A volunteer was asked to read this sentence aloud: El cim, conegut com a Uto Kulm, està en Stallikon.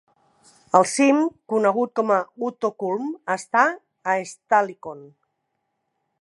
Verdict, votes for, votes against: accepted, 3, 2